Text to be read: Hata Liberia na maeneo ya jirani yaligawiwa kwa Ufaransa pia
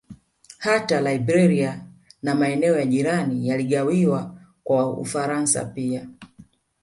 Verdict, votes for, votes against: rejected, 1, 2